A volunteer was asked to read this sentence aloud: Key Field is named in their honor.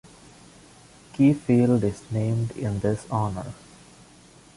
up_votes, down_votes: 0, 2